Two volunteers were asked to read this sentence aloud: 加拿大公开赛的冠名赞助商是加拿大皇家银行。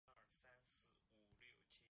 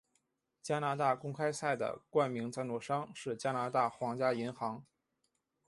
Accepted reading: second